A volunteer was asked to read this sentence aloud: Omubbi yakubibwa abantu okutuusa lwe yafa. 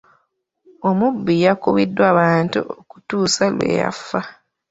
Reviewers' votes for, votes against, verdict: 1, 2, rejected